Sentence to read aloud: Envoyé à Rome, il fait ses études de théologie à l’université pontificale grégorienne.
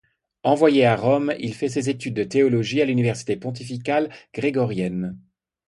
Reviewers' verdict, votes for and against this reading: accepted, 2, 0